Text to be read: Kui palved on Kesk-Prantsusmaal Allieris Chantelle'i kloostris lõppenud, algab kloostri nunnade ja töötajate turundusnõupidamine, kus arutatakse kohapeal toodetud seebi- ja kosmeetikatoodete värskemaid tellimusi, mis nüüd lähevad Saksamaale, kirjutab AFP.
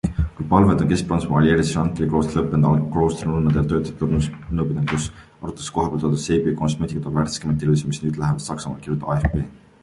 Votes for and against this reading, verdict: 0, 2, rejected